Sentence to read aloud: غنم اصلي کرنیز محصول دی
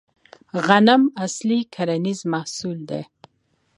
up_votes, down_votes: 2, 1